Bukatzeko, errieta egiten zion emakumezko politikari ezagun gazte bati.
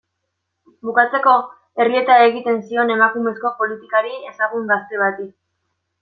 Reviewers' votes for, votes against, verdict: 2, 0, accepted